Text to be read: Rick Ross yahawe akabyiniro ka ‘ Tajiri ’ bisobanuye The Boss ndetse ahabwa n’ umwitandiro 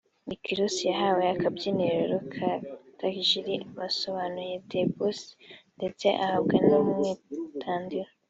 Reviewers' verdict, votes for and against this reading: accepted, 2, 0